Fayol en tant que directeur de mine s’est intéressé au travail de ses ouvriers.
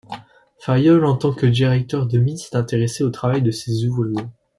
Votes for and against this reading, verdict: 1, 2, rejected